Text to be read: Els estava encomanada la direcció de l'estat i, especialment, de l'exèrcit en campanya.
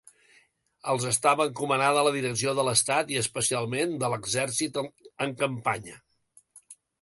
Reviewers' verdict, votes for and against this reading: rejected, 0, 2